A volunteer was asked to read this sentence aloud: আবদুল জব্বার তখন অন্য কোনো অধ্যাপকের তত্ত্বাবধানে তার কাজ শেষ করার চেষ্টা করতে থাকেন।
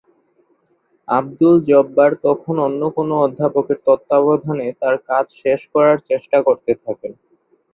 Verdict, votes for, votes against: accepted, 13, 1